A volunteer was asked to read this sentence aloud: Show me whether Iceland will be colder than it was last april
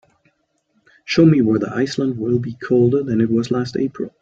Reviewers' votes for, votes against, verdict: 2, 0, accepted